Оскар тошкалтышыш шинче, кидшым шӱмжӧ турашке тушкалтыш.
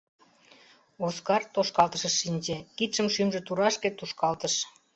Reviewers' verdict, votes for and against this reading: accepted, 2, 0